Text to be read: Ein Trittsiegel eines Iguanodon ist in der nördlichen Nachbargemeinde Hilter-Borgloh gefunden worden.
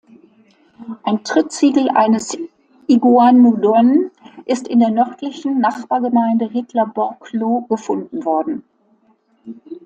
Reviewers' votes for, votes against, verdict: 0, 2, rejected